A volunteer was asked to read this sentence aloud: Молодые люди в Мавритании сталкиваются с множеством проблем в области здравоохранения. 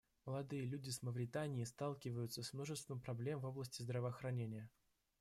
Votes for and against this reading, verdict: 1, 2, rejected